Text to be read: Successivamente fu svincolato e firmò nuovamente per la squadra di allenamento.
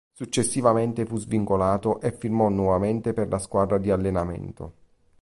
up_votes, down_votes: 2, 0